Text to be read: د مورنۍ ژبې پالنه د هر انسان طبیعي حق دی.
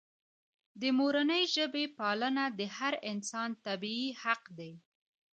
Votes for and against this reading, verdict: 2, 0, accepted